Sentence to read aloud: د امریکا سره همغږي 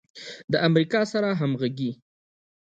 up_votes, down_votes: 2, 0